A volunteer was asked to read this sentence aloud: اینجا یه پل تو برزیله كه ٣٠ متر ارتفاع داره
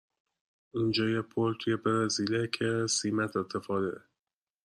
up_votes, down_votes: 0, 2